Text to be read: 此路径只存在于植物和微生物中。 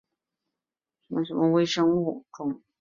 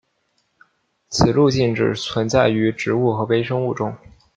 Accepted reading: second